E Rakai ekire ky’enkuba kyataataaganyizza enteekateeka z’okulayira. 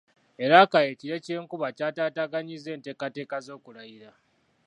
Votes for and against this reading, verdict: 2, 1, accepted